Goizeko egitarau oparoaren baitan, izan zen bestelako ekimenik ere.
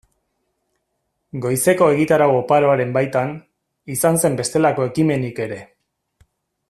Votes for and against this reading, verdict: 2, 0, accepted